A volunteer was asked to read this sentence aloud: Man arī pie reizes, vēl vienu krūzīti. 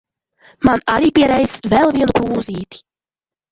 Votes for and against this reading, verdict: 2, 0, accepted